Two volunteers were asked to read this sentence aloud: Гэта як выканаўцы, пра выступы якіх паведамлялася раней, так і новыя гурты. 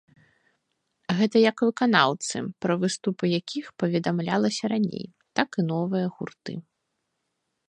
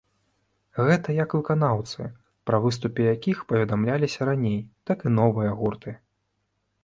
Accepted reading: first